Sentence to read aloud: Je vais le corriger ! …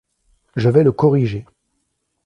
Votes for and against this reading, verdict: 2, 0, accepted